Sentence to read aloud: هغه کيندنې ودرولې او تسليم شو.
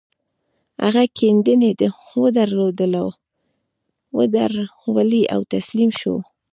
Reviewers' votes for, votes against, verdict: 1, 2, rejected